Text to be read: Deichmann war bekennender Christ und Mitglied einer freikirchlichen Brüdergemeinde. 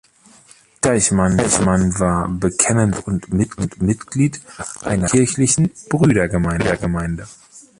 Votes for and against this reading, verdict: 0, 2, rejected